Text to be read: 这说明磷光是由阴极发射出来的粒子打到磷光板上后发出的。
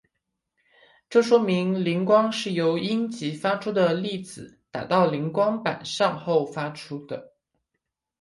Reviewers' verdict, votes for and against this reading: rejected, 0, 2